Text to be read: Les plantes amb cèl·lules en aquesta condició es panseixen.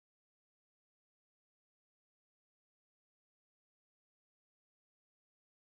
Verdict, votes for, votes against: rejected, 0, 2